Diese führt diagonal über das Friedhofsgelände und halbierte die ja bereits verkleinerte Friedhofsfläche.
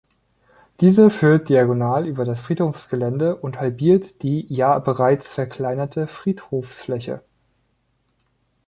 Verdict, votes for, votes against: rejected, 0, 2